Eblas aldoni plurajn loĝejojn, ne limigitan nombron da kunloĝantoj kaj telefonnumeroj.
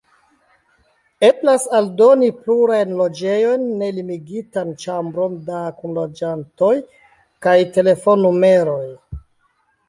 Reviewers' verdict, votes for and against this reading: rejected, 0, 2